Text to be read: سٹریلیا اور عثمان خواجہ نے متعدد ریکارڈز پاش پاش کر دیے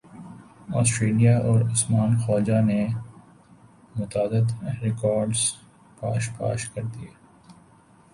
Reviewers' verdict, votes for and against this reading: rejected, 1, 2